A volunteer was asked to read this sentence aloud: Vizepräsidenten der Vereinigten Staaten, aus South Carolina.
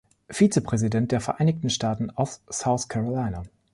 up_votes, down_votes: 0, 2